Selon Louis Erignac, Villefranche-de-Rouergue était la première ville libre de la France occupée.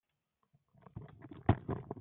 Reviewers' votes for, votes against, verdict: 0, 2, rejected